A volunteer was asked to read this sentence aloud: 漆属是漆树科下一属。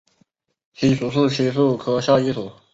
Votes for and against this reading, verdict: 1, 4, rejected